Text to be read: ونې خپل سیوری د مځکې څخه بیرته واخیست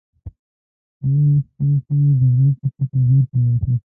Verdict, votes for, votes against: rejected, 0, 2